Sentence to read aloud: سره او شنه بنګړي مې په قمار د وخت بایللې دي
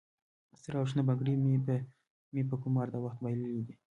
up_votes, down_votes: 1, 2